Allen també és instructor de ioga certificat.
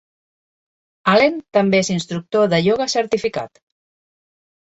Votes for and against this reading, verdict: 2, 0, accepted